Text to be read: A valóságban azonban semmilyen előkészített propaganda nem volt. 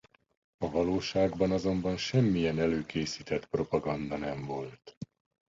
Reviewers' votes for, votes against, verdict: 2, 1, accepted